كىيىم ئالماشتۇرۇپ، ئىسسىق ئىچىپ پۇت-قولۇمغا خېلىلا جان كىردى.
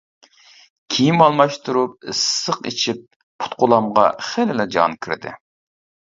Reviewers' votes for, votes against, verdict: 0, 2, rejected